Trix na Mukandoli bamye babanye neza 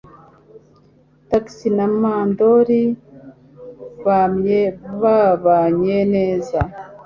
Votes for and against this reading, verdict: 0, 2, rejected